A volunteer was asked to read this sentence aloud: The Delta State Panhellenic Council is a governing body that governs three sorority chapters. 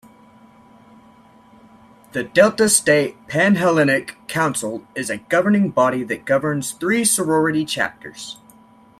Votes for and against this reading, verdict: 2, 0, accepted